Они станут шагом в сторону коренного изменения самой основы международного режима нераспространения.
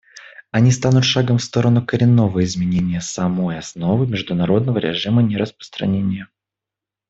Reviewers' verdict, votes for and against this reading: accepted, 2, 0